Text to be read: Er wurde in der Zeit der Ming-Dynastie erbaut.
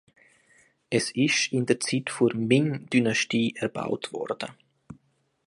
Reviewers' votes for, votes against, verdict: 0, 2, rejected